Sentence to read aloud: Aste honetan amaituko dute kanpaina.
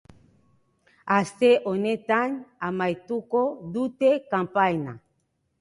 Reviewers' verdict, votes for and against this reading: accepted, 2, 0